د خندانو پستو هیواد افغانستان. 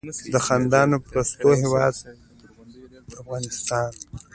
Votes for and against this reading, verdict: 3, 0, accepted